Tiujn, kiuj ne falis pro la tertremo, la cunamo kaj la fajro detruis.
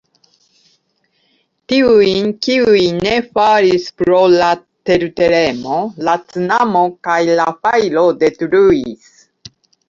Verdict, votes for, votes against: accepted, 2, 0